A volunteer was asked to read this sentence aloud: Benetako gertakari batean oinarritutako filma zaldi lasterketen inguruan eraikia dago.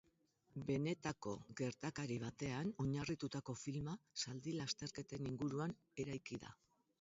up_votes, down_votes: 0, 2